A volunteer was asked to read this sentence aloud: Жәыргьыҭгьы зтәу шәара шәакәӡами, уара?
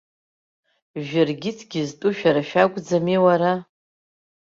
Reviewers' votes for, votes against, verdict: 2, 0, accepted